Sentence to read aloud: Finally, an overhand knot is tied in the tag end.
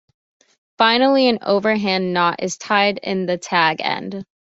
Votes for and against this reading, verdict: 2, 0, accepted